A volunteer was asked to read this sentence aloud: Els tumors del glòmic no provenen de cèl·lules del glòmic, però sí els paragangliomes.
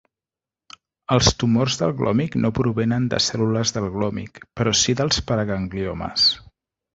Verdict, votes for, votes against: rejected, 1, 2